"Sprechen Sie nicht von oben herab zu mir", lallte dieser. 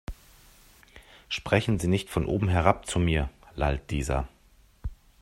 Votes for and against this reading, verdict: 0, 4, rejected